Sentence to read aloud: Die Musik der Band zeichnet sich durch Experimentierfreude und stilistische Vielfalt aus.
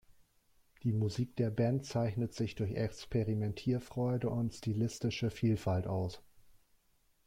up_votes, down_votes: 1, 2